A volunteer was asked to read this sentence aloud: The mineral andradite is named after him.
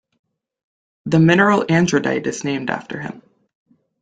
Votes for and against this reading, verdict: 2, 0, accepted